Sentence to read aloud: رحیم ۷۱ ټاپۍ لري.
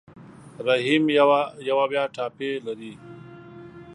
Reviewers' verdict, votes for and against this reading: rejected, 0, 2